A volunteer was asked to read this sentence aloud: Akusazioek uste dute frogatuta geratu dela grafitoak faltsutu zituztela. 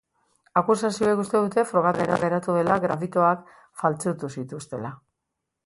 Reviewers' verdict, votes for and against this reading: rejected, 1, 2